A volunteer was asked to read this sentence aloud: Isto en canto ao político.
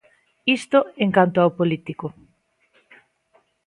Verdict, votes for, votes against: accepted, 2, 0